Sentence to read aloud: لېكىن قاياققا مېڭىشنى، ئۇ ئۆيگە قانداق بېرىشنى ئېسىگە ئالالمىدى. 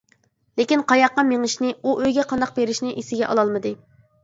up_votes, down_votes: 2, 0